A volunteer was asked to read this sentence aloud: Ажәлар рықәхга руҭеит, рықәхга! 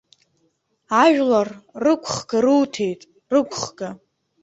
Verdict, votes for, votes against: rejected, 1, 2